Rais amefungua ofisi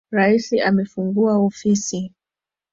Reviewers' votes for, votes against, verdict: 2, 1, accepted